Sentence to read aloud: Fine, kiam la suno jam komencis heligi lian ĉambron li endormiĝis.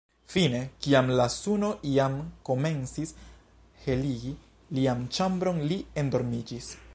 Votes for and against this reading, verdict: 0, 2, rejected